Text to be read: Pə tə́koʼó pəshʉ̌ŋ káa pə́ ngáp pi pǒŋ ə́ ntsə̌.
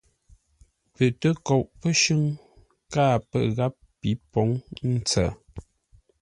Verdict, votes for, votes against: accepted, 2, 0